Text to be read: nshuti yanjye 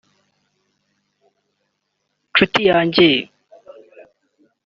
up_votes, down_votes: 2, 0